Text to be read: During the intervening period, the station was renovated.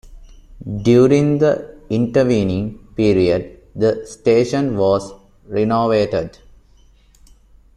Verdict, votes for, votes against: accepted, 2, 0